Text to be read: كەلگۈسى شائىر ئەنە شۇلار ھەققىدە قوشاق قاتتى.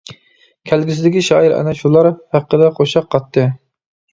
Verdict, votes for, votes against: rejected, 0, 2